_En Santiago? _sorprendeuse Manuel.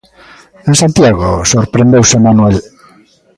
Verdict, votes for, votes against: accepted, 2, 0